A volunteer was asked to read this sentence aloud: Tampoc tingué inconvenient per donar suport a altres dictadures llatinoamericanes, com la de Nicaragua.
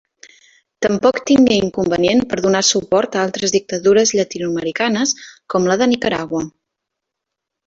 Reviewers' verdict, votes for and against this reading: accepted, 2, 0